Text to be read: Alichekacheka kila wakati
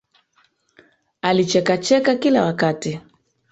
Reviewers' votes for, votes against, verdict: 0, 2, rejected